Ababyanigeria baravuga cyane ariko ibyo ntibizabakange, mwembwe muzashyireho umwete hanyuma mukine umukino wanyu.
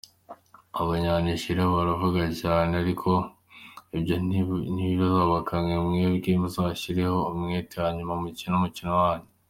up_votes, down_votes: 0, 2